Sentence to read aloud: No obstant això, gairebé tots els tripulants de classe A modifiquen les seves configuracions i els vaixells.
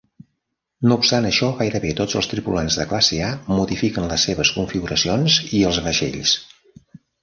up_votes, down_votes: 3, 0